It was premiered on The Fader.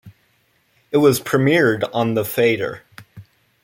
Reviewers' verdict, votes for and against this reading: accepted, 2, 0